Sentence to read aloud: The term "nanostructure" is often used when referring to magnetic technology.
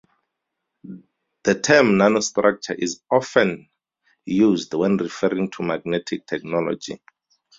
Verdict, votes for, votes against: accepted, 4, 0